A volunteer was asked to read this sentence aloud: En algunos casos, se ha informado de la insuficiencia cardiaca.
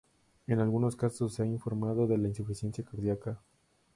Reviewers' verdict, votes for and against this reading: rejected, 0, 2